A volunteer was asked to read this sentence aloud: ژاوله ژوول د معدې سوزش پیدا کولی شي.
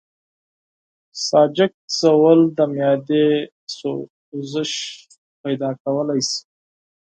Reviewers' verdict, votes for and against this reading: rejected, 0, 4